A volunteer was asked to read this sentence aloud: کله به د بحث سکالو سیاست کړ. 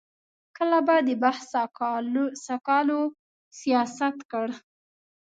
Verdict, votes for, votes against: rejected, 1, 2